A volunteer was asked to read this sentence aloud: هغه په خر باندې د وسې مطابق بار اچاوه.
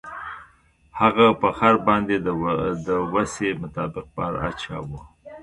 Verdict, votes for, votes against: rejected, 1, 2